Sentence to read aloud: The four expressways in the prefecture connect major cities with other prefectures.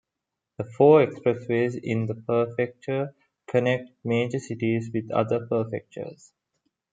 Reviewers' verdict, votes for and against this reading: rejected, 0, 2